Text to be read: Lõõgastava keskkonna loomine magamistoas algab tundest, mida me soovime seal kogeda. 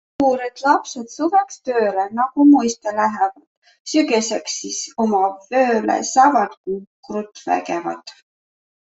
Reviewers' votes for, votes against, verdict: 0, 2, rejected